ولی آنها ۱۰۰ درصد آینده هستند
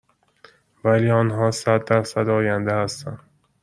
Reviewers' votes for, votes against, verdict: 0, 2, rejected